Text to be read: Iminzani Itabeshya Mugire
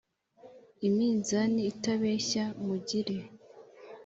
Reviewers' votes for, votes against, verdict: 3, 0, accepted